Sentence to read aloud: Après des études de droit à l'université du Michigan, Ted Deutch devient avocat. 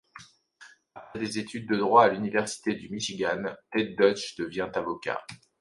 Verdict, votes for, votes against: rejected, 0, 2